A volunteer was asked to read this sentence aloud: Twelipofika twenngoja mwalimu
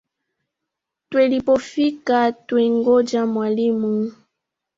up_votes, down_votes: 2, 0